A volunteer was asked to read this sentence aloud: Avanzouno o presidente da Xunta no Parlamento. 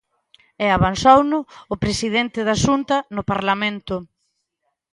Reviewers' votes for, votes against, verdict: 1, 2, rejected